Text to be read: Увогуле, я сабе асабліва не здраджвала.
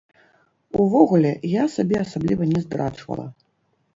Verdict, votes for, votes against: rejected, 1, 2